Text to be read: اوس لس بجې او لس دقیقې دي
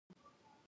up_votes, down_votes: 0, 2